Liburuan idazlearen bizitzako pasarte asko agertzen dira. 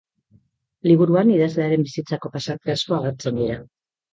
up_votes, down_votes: 5, 0